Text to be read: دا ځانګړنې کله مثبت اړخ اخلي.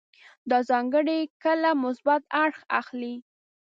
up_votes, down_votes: 0, 2